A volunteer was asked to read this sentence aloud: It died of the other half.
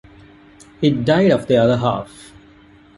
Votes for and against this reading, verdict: 1, 2, rejected